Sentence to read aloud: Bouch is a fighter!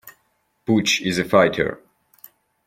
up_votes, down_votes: 1, 2